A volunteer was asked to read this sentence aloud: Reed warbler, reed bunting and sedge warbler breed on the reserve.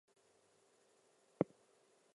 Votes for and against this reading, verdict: 0, 2, rejected